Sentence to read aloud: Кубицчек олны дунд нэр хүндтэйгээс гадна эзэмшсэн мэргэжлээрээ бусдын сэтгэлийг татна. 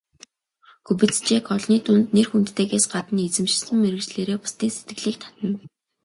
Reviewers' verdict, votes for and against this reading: accepted, 2, 0